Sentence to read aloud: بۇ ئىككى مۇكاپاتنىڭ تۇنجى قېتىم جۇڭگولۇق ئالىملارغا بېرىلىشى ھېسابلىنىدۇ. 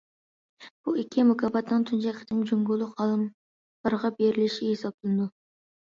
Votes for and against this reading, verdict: 2, 1, accepted